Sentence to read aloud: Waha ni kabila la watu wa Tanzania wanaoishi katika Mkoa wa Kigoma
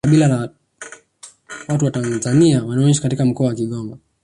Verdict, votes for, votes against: rejected, 1, 2